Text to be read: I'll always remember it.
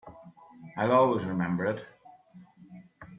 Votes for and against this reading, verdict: 2, 1, accepted